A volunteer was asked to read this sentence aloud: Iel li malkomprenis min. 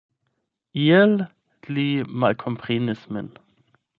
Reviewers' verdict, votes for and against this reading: rejected, 4, 8